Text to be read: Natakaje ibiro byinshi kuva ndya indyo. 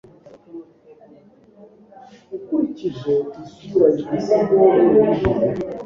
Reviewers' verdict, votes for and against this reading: rejected, 1, 2